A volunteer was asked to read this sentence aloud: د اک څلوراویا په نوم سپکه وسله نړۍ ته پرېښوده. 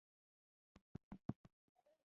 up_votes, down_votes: 0, 2